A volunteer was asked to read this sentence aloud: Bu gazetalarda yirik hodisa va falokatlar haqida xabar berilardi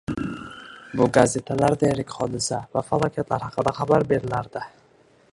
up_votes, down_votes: 1, 2